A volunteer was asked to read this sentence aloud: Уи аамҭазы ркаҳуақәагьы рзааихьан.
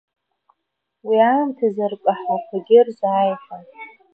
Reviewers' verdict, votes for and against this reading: rejected, 1, 2